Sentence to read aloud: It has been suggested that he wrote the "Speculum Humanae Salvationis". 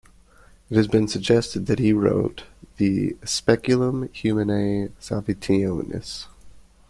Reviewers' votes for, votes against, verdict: 2, 0, accepted